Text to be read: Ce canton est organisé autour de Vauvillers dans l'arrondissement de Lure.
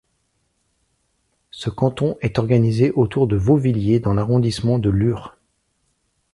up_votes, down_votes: 0, 2